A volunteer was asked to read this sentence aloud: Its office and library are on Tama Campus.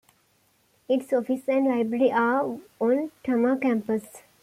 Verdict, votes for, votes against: accepted, 2, 0